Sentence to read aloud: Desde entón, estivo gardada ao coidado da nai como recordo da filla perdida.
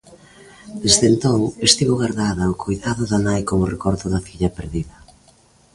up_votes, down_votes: 2, 0